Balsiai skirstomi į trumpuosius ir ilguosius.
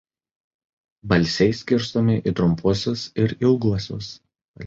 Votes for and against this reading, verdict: 1, 2, rejected